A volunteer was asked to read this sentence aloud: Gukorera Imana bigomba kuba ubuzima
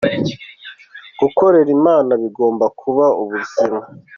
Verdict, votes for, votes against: accepted, 2, 0